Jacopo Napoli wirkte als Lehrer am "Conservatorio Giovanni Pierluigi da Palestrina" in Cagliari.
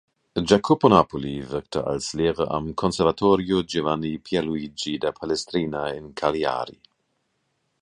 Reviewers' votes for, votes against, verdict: 2, 0, accepted